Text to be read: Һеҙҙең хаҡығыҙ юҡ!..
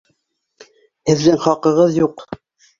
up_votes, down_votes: 2, 0